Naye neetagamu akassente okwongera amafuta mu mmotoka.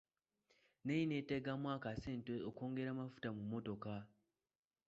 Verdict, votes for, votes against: rejected, 1, 2